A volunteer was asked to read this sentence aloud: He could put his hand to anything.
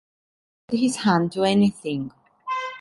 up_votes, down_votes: 0, 2